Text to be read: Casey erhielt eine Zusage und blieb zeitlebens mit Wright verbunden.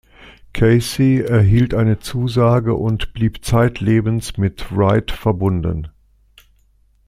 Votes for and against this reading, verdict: 2, 0, accepted